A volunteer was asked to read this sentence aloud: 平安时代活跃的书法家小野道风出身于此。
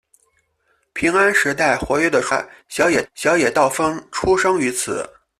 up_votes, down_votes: 0, 2